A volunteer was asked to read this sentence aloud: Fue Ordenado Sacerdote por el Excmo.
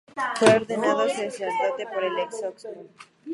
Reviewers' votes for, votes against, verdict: 0, 2, rejected